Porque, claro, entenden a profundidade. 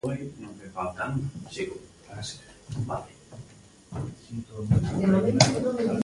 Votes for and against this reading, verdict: 0, 2, rejected